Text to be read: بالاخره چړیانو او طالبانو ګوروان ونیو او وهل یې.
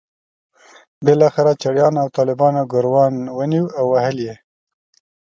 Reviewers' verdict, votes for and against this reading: accepted, 2, 0